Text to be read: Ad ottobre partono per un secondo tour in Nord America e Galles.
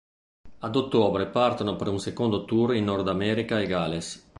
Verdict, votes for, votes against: accepted, 2, 0